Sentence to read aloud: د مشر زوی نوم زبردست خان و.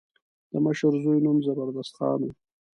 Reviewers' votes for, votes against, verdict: 2, 0, accepted